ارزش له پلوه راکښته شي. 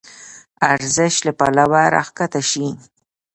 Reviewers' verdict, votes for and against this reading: accepted, 2, 0